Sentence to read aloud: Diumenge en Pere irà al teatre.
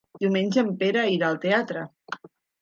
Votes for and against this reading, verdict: 3, 0, accepted